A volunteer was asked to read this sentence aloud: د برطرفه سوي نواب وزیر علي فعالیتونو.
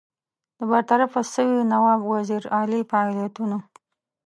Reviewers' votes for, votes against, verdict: 2, 3, rejected